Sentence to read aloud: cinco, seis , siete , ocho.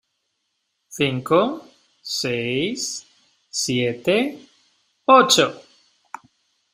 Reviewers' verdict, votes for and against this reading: accepted, 2, 0